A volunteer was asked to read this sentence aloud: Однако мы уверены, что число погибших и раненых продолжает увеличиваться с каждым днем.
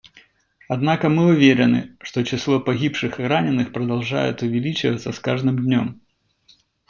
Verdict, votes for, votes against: accepted, 2, 0